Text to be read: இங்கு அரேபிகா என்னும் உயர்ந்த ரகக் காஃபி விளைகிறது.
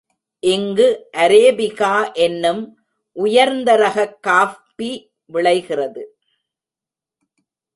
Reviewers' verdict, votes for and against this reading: rejected, 0, 2